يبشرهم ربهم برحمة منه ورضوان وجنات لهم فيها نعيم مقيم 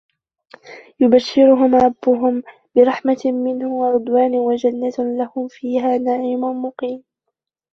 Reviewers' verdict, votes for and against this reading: rejected, 1, 2